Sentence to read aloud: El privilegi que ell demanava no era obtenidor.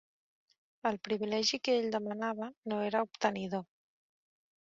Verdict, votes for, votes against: accepted, 2, 0